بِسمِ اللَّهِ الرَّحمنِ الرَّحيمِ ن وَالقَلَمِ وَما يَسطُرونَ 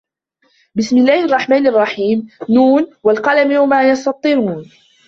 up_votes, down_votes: 1, 2